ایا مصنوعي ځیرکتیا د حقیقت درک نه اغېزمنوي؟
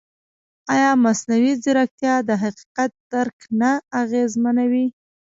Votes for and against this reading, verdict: 2, 1, accepted